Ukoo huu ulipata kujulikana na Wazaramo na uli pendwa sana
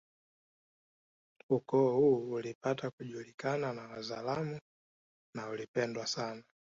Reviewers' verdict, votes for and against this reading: accepted, 2, 1